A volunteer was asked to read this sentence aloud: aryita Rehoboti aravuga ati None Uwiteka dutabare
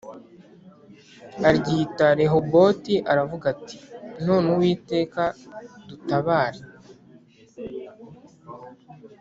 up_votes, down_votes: 2, 0